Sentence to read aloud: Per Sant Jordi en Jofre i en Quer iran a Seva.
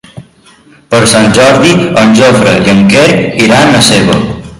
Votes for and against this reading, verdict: 2, 1, accepted